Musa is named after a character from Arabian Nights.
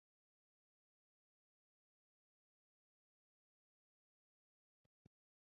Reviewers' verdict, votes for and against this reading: rejected, 0, 2